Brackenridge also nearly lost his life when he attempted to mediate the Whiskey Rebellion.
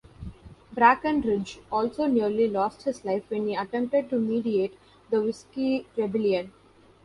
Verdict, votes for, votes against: rejected, 1, 2